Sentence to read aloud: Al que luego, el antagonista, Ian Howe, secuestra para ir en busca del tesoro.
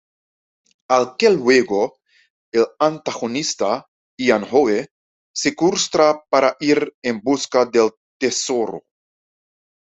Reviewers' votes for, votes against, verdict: 2, 0, accepted